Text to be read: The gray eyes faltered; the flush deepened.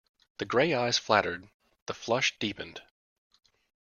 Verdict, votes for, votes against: rejected, 1, 2